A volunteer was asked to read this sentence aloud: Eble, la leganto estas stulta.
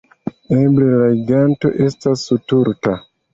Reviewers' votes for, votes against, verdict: 0, 2, rejected